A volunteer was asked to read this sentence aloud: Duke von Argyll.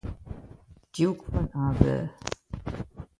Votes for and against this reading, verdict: 1, 2, rejected